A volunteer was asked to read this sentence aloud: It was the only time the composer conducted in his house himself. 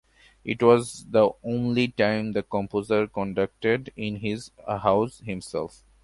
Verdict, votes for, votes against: accepted, 2, 0